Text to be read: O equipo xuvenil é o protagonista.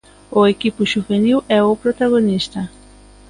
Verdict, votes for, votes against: accepted, 2, 1